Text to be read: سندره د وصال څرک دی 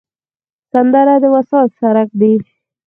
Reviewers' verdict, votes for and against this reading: rejected, 2, 4